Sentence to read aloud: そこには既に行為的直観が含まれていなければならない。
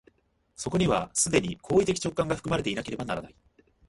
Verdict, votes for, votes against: rejected, 0, 2